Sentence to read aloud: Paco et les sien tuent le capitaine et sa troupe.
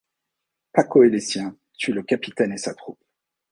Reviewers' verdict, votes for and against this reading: accepted, 2, 0